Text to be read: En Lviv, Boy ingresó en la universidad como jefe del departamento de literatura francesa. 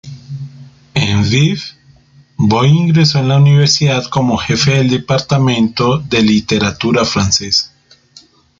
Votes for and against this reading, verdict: 1, 2, rejected